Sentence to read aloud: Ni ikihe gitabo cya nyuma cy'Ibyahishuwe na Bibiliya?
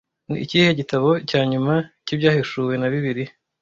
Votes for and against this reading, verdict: 2, 0, accepted